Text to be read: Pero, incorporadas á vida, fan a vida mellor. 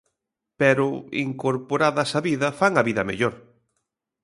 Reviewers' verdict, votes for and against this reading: accepted, 3, 0